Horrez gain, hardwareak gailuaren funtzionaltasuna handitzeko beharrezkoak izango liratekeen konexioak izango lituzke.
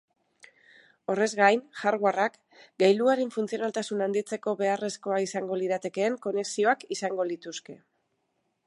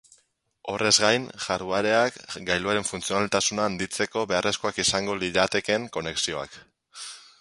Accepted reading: first